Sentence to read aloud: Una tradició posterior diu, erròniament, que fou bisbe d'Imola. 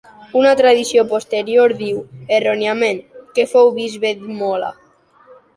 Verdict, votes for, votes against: accepted, 2, 1